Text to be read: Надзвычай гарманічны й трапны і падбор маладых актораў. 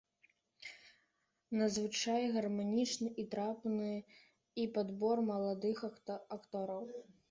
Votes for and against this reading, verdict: 0, 2, rejected